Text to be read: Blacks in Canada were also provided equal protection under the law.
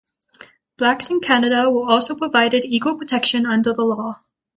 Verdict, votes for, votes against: accepted, 3, 0